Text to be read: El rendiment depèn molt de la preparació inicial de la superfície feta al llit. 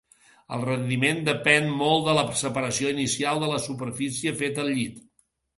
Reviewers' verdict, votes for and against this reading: rejected, 0, 2